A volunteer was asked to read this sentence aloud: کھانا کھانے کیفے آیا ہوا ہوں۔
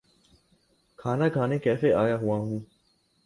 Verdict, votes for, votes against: accepted, 4, 0